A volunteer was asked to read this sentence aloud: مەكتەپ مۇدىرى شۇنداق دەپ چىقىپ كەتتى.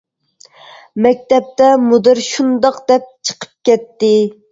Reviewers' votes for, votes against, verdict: 0, 2, rejected